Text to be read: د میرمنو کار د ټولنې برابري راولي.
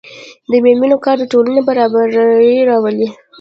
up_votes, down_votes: 0, 2